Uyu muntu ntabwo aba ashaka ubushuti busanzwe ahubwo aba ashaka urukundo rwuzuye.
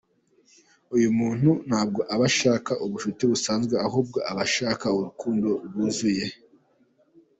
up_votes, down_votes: 2, 0